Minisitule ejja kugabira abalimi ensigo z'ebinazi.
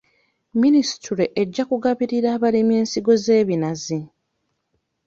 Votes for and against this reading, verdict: 1, 2, rejected